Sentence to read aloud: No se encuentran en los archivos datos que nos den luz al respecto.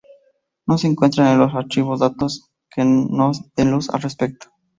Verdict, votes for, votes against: accepted, 2, 0